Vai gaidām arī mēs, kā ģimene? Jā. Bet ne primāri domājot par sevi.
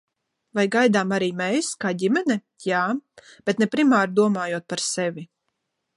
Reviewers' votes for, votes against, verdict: 2, 0, accepted